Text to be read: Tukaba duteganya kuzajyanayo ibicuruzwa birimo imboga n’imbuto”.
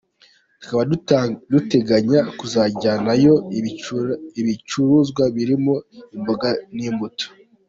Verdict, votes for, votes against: rejected, 0, 2